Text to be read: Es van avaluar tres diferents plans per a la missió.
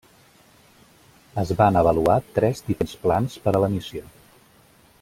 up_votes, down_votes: 0, 2